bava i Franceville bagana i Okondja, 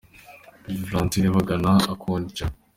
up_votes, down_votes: 2, 0